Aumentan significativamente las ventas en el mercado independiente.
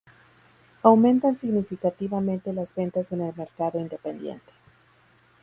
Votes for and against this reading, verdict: 2, 0, accepted